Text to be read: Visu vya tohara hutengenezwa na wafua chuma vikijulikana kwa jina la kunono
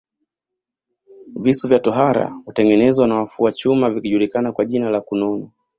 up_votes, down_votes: 2, 1